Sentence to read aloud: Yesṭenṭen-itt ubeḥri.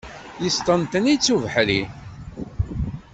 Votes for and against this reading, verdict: 2, 0, accepted